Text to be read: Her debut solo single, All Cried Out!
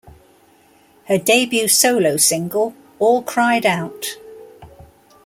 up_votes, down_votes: 2, 0